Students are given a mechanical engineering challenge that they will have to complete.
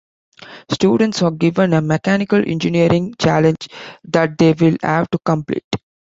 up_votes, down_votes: 2, 0